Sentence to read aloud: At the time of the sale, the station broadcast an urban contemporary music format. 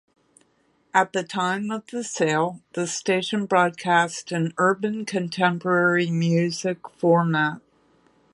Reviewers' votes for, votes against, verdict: 2, 0, accepted